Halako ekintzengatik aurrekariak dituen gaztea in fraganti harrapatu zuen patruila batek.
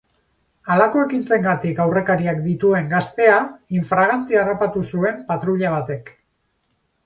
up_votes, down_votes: 6, 0